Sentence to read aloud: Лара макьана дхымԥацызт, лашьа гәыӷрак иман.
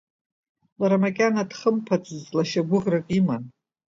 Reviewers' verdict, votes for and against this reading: accepted, 2, 1